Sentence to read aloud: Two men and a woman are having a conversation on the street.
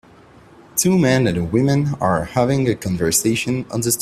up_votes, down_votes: 0, 2